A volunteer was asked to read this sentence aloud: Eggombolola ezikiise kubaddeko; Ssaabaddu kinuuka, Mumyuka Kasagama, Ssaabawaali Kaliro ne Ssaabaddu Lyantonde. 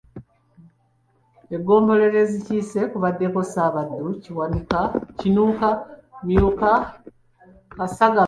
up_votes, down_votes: 0, 2